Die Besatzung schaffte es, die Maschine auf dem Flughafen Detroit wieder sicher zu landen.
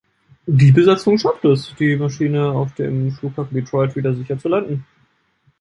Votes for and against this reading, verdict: 2, 0, accepted